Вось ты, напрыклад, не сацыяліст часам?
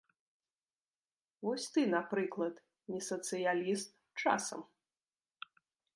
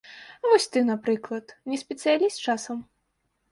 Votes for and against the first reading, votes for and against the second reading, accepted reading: 2, 0, 0, 2, first